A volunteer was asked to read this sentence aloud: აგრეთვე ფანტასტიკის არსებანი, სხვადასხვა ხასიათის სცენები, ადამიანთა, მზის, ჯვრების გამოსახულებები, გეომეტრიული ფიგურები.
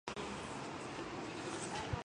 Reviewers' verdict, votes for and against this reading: rejected, 0, 2